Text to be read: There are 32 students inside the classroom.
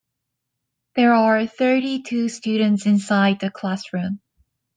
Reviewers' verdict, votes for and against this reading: rejected, 0, 2